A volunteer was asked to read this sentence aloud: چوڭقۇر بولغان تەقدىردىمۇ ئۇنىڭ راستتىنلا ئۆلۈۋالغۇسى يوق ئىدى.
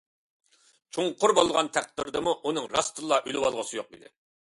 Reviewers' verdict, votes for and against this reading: accepted, 2, 0